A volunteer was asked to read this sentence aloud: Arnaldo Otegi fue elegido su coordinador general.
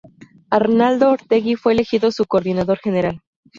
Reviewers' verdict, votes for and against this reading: accepted, 2, 0